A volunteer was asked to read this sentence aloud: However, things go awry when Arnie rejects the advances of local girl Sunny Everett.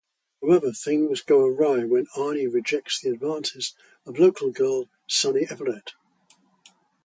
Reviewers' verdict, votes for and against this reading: accepted, 2, 0